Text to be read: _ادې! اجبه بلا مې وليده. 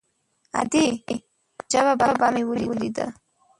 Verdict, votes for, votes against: rejected, 0, 2